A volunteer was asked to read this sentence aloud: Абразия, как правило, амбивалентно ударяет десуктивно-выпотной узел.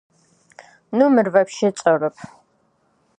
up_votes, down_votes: 0, 2